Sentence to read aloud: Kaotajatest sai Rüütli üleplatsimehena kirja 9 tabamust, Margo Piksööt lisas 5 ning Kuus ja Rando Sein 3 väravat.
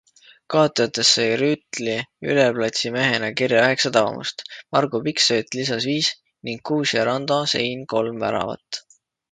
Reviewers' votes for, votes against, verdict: 0, 2, rejected